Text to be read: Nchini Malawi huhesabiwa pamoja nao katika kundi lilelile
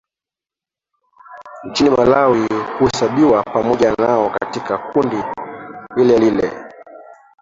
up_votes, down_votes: 0, 2